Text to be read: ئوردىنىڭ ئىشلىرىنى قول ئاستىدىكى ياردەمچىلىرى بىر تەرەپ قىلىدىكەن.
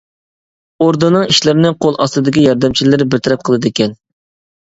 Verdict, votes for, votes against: accepted, 2, 0